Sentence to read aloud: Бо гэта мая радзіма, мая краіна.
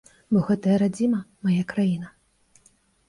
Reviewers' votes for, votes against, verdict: 1, 3, rejected